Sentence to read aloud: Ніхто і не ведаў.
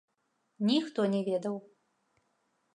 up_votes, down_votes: 0, 2